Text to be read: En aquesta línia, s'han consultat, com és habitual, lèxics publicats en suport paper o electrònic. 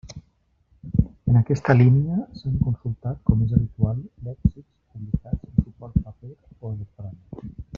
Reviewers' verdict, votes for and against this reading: rejected, 0, 2